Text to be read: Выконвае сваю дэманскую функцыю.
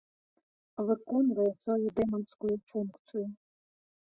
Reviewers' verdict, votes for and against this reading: rejected, 1, 2